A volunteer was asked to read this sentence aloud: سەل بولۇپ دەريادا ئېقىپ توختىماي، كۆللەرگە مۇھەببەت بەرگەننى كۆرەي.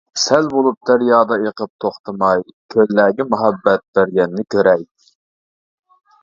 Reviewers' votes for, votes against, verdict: 2, 0, accepted